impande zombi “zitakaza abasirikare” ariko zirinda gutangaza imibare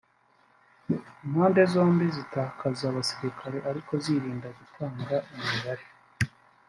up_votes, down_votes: 1, 2